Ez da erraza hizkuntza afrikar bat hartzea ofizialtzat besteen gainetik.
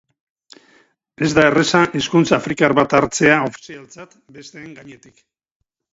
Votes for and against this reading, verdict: 0, 4, rejected